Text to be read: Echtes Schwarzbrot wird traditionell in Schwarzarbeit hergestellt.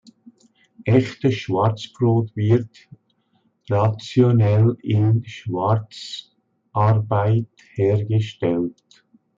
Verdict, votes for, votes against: rejected, 0, 2